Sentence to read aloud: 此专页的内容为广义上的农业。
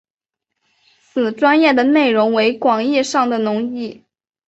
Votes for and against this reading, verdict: 2, 1, accepted